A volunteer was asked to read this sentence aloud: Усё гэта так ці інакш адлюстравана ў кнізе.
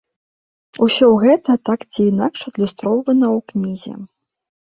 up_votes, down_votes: 1, 2